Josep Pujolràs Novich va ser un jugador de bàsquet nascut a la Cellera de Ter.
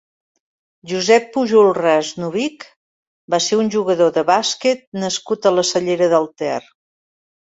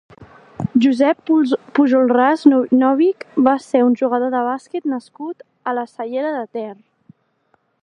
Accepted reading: first